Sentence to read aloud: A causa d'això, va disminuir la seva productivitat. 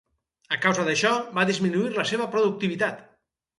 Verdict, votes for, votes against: accepted, 4, 0